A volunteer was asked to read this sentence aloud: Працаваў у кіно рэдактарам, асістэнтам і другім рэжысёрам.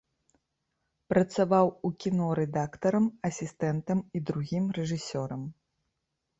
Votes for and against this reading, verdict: 2, 0, accepted